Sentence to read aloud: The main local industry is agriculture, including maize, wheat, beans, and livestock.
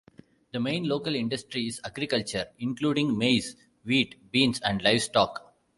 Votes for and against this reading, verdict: 2, 0, accepted